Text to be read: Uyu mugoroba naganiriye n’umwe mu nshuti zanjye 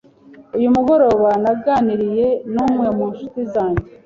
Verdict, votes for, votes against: accepted, 2, 0